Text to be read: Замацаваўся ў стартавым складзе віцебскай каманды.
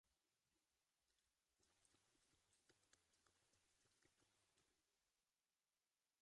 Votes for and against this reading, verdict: 0, 2, rejected